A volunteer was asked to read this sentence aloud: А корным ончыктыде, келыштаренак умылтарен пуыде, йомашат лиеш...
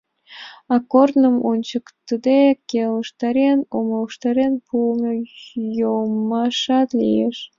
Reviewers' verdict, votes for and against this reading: rejected, 1, 2